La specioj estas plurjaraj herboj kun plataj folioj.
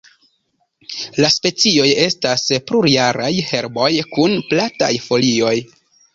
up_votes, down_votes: 2, 0